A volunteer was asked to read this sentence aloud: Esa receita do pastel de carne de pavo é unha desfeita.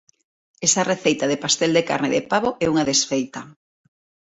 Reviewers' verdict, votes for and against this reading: accepted, 3, 0